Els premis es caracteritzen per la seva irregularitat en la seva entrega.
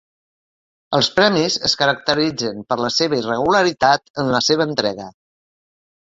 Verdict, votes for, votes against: accepted, 2, 0